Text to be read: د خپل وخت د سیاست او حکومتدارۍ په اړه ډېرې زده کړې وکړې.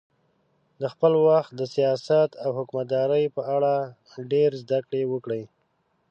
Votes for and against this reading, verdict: 1, 2, rejected